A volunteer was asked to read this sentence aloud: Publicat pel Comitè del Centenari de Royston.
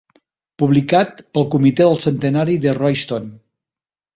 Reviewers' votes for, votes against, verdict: 4, 0, accepted